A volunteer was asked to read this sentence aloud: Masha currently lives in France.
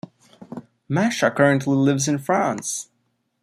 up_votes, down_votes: 2, 0